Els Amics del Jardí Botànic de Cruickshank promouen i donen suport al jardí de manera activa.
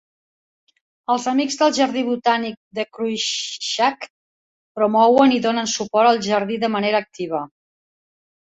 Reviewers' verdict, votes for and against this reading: accepted, 2, 0